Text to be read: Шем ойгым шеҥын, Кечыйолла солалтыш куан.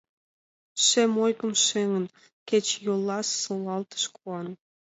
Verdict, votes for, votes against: accepted, 2, 0